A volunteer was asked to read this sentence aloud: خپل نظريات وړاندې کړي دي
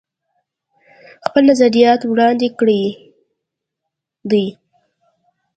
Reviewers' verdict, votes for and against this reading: accepted, 2, 1